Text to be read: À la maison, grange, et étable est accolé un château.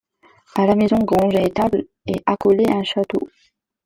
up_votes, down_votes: 2, 0